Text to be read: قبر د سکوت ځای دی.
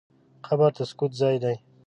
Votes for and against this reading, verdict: 2, 0, accepted